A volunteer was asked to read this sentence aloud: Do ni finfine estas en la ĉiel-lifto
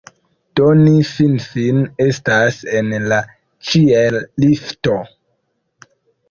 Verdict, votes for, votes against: rejected, 1, 2